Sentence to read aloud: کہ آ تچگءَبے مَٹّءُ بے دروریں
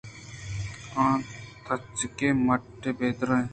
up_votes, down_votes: 2, 0